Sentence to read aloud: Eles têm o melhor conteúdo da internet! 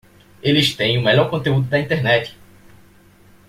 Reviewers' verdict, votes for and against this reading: accepted, 2, 0